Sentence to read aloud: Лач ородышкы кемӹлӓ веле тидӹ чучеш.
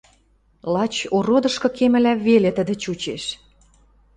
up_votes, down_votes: 0, 2